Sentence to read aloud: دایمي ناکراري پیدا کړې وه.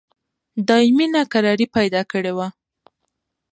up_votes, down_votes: 2, 1